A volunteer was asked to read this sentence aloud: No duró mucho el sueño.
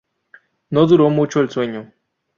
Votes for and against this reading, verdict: 2, 0, accepted